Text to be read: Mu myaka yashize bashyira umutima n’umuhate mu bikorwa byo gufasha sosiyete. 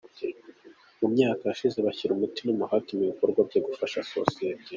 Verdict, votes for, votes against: accepted, 3, 0